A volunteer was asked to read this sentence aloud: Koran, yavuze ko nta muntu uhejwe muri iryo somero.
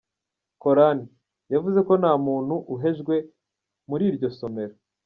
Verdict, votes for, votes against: rejected, 1, 2